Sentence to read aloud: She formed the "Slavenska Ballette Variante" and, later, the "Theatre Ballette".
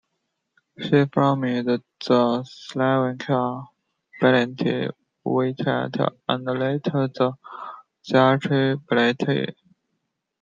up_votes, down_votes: 0, 2